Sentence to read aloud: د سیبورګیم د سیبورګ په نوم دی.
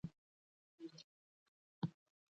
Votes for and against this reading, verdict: 0, 2, rejected